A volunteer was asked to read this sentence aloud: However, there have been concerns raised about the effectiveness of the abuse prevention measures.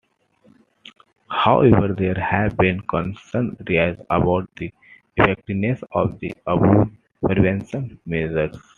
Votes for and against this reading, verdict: 0, 2, rejected